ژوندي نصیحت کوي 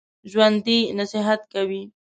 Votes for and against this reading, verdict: 2, 0, accepted